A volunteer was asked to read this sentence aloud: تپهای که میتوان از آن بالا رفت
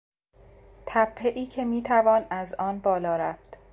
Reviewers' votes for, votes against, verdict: 2, 0, accepted